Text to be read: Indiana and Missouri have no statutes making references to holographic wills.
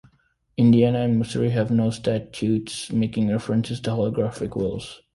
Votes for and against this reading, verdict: 1, 2, rejected